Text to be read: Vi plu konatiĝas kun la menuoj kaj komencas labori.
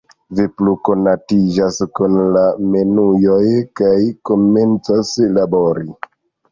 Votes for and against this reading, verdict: 0, 2, rejected